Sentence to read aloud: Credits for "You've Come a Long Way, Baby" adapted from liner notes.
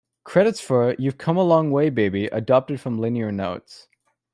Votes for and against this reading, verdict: 1, 2, rejected